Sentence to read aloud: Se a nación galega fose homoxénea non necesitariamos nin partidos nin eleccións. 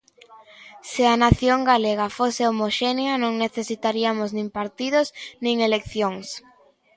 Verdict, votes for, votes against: accepted, 2, 0